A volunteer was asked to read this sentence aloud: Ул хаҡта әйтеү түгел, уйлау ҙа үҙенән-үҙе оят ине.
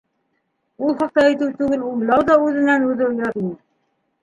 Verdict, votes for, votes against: rejected, 1, 2